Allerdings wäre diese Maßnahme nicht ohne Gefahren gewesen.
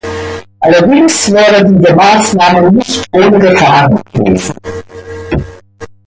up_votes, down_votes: 0, 2